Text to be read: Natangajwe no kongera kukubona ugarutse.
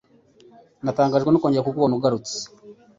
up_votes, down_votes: 2, 0